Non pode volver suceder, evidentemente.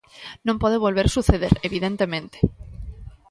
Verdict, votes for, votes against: accepted, 2, 0